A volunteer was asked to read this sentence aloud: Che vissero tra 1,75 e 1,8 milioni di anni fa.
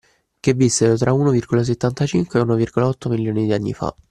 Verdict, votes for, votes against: rejected, 0, 2